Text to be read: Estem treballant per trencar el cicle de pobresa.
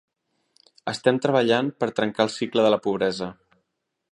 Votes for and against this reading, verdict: 0, 2, rejected